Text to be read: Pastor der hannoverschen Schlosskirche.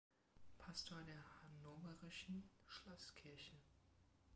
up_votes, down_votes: 0, 2